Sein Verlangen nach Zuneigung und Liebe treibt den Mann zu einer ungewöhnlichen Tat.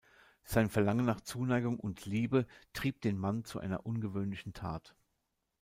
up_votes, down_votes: 0, 2